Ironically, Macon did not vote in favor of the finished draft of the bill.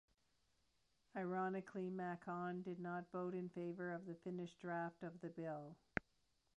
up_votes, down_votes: 2, 0